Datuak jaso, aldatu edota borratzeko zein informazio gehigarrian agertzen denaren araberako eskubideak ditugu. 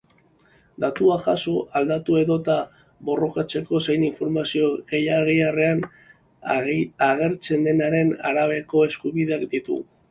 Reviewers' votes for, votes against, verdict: 0, 3, rejected